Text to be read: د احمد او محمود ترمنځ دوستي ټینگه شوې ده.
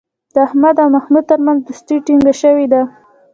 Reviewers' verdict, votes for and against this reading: rejected, 1, 2